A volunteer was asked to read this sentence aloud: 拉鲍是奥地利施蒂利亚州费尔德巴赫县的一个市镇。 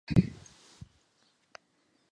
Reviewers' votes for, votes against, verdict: 0, 2, rejected